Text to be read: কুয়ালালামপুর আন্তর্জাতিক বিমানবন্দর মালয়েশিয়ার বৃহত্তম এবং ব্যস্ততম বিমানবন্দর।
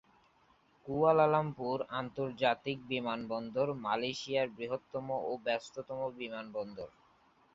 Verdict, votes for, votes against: accepted, 3, 0